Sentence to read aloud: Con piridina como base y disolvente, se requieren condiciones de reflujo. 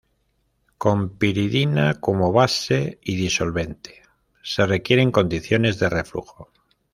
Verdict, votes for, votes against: accepted, 2, 0